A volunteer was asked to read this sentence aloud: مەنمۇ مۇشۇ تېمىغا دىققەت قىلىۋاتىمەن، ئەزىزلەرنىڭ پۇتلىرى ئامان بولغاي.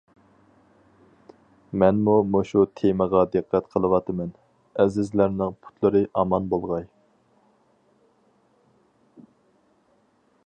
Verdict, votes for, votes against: accepted, 4, 0